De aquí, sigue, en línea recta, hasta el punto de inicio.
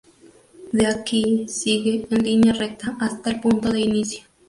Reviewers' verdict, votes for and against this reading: rejected, 2, 2